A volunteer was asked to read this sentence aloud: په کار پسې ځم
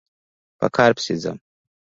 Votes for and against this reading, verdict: 2, 0, accepted